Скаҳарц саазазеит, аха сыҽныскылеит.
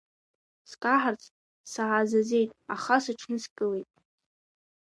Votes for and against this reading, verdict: 0, 2, rejected